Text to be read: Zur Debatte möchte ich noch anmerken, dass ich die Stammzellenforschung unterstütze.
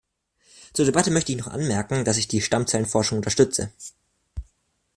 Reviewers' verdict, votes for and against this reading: accepted, 2, 0